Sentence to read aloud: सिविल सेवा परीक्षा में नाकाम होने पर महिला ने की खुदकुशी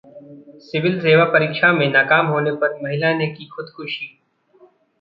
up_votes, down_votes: 2, 0